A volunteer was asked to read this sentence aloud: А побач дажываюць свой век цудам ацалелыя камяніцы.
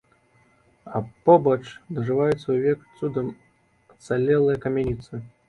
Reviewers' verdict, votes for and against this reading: accepted, 2, 0